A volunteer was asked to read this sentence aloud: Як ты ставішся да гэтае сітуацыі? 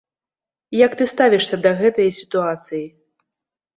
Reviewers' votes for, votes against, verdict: 2, 0, accepted